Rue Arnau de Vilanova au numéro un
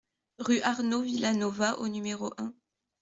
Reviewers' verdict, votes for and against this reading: rejected, 1, 2